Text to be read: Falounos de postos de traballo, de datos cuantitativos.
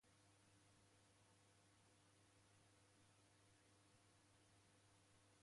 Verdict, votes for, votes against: rejected, 1, 2